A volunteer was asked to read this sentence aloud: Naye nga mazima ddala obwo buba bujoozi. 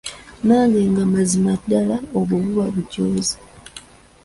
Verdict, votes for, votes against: rejected, 0, 2